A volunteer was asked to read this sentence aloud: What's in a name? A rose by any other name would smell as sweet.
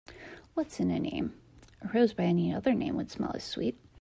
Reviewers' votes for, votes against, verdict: 2, 0, accepted